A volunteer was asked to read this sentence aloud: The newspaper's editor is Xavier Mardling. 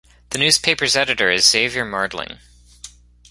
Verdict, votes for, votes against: rejected, 0, 2